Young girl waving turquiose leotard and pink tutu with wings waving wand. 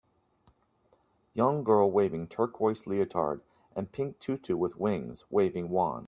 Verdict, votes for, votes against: accepted, 3, 0